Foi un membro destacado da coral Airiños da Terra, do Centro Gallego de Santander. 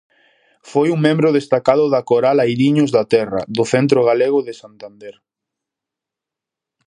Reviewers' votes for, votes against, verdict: 0, 2, rejected